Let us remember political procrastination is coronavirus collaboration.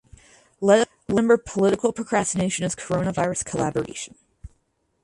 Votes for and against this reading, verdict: 0, 4, rejected